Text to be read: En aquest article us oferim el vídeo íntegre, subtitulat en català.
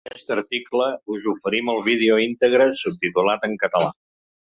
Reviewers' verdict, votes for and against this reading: rejected, 1, 2